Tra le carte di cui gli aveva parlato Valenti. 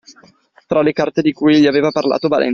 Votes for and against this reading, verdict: 1, 2, rejected